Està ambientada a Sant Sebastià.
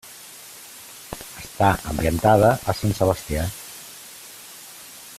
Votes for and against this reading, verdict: 2, 0, accepted